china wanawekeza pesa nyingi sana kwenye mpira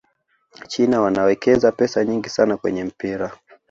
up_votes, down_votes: 2, 0